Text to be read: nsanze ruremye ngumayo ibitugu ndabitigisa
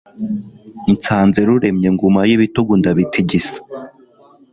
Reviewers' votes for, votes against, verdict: 2, 0, accepted